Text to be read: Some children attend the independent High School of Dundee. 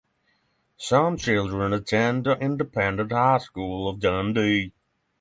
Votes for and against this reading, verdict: 3, 0, accepted